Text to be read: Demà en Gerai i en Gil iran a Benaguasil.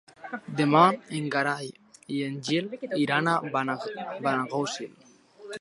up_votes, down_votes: 1, 2